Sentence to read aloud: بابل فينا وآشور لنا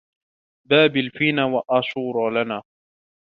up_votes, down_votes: 2, 0